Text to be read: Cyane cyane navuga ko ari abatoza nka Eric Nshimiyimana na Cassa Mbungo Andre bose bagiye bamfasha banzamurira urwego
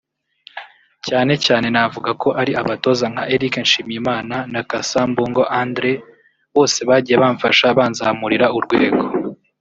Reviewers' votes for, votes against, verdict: 1, 2, rejected